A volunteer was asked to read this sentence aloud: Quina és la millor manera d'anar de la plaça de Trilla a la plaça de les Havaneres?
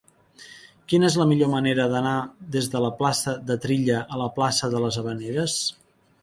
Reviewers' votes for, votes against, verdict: 0, 2, rejected